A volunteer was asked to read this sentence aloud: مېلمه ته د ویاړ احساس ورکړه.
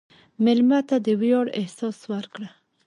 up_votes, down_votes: 0, 2